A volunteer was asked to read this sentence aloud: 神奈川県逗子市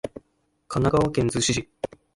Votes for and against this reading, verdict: 1, 3, rejected